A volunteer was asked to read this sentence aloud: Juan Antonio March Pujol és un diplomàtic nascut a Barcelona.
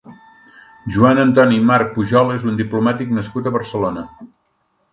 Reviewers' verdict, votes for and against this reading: rejected, 1, 2